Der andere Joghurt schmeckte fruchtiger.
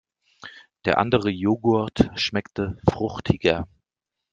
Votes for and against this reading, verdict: 2, 0, accepted